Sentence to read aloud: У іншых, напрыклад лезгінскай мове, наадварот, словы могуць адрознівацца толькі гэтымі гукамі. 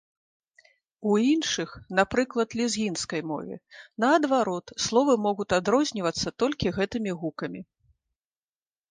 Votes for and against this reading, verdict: 1, 2, rejected